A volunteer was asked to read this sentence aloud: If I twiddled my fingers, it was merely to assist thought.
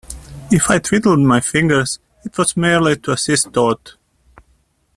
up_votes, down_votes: 2, 1